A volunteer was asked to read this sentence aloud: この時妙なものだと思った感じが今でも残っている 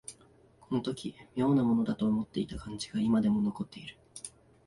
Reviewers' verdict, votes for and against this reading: rejected, 1, 2